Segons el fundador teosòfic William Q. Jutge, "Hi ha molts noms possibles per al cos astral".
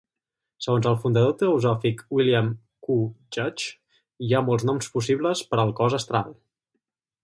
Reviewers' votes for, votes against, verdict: 2, 2, rejected